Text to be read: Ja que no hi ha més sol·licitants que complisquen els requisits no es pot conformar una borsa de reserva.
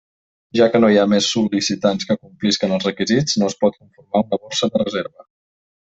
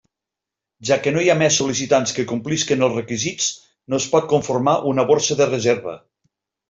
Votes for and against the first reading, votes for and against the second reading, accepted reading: 0, 2, 3, 0, second